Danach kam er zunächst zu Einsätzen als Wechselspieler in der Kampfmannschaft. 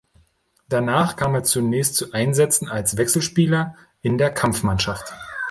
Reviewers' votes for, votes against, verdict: 2, 0, accepted